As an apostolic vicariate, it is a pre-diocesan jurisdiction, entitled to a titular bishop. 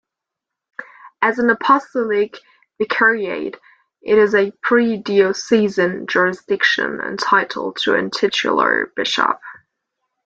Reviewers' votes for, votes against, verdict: 2, 0, accepted